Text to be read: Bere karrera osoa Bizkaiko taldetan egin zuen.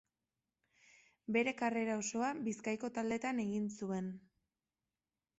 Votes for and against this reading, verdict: 3, 0, accepted